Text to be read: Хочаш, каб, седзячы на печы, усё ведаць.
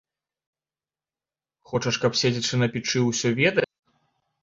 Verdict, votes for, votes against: rejected, 0, 2